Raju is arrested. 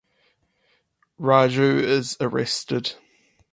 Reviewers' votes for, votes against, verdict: 4, 2, accepted